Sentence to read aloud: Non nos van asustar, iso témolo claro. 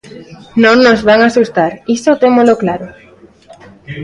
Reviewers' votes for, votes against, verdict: 1, 2, rejected